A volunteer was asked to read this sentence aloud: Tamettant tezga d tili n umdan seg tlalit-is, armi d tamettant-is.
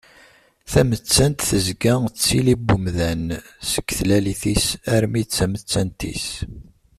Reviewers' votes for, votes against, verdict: 2, 0, accepted